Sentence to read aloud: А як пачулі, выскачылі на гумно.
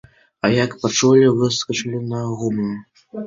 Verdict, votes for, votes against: accepted, 2, 1